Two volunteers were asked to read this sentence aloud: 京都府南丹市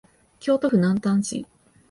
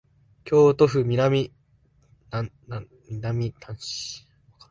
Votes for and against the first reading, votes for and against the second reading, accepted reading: 2, 0, 1, 3, first